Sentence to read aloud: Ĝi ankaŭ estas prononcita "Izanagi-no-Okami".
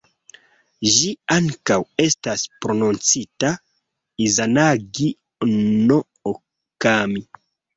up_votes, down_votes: 2, 1